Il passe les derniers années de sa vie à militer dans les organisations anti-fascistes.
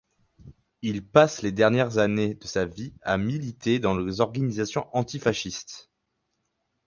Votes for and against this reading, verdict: 2, 4, rejected